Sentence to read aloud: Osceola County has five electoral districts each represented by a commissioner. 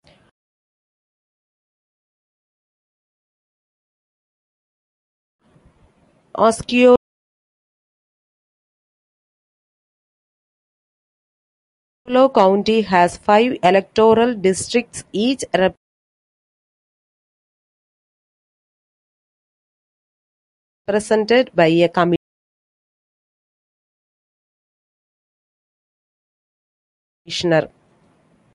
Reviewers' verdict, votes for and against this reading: rejected, 0, 2